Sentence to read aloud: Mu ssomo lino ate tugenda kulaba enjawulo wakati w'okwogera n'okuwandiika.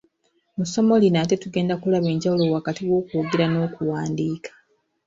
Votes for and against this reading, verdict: 2, 0, accepted